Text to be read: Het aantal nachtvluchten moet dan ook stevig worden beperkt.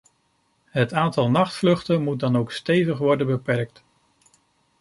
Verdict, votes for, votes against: accepted, 2, 0